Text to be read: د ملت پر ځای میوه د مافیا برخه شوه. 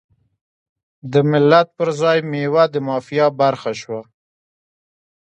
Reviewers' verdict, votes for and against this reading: accepted, 2, 0